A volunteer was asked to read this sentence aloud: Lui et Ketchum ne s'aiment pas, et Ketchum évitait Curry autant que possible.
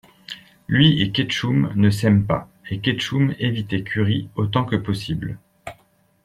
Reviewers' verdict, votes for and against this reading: accepted, 2, 0